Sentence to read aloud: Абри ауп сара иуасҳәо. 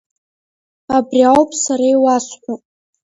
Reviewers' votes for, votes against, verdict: 0, 2, rejected